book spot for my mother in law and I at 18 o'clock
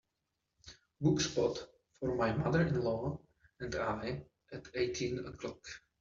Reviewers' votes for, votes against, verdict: 0, 2, rejected